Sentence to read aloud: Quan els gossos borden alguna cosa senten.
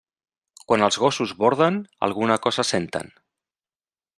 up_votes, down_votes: 3, 0